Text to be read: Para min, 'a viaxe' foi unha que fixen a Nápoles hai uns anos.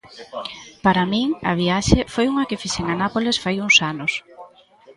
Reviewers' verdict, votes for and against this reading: rejected, 0, 2